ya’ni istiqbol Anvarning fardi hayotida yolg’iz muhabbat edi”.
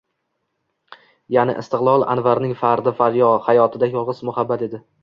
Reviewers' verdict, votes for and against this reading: accepted, 2, 0